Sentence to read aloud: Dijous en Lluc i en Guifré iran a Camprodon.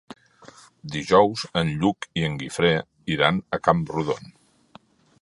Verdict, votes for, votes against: accepted, 2, 0